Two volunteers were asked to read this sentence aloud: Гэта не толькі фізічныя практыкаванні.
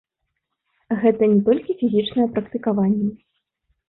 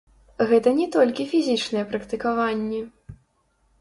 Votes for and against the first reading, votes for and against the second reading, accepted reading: 2, 0, 0, 3, first